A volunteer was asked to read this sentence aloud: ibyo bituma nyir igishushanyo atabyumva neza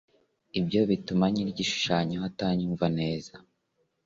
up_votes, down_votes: 1, 2